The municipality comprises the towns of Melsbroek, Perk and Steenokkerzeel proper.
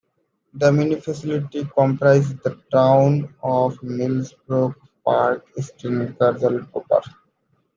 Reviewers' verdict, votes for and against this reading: rejected, 1, 2